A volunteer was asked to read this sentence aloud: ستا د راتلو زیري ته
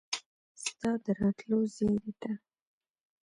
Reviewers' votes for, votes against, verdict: 2, 0, accepted